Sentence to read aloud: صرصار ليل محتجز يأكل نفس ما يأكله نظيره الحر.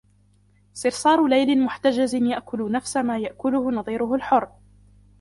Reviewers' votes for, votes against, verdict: 2, 0, accepted